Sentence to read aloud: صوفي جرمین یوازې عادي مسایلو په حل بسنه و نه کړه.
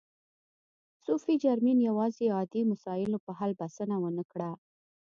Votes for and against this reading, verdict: 2, 0, accepted